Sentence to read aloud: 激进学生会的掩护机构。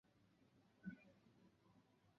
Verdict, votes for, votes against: rejected, 1, 2